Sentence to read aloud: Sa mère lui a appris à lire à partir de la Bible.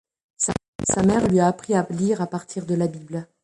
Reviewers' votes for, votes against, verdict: 0, 2, rejected